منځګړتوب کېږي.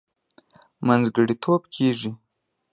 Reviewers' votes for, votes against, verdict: 2, 0, accepted